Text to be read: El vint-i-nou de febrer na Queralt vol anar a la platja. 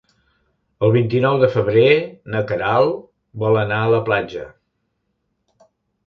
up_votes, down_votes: 3, 0